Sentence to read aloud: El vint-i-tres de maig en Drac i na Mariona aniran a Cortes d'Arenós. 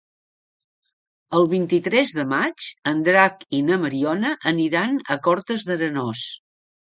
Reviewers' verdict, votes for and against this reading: accepted, 2, 0